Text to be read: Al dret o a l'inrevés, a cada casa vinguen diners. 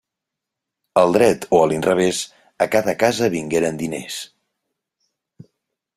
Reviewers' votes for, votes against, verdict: 0, 2, rejected